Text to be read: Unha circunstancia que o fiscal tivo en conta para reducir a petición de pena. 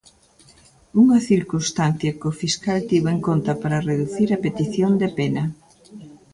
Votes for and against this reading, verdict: 0, 2, rejected